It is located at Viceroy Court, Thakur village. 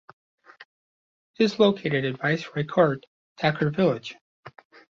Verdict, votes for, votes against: rejected, 0, 2